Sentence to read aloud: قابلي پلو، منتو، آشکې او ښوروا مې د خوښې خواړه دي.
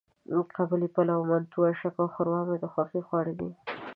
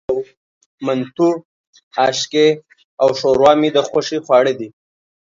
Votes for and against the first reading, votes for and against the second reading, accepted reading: 2, 0, 1, 2, first